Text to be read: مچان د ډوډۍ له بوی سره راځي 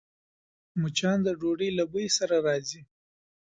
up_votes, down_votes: 2, 0